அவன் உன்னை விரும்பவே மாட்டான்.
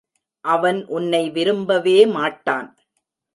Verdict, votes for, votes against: accepted, 2, 0